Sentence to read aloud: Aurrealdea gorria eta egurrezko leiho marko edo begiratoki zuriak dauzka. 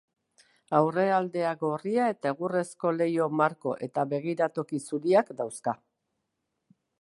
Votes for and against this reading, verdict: 0, 2, rejected